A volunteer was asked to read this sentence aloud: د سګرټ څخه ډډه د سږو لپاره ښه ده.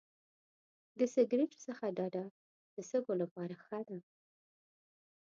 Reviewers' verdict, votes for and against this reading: rejected, 1, 2